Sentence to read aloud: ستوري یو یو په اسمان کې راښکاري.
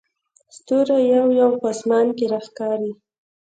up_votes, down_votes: 1, 2